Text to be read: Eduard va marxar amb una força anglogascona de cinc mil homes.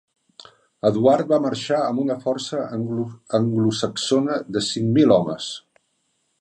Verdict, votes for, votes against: rejected, 0, 3